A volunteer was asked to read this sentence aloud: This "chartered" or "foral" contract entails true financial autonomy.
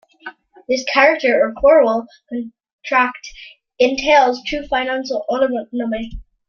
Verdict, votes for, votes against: rejected, 1, 2